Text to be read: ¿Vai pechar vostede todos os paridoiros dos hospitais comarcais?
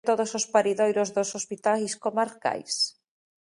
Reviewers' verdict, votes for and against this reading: rejected, 0, 2